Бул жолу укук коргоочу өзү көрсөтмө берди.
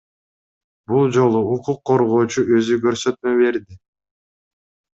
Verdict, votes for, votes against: accepted, 2, 0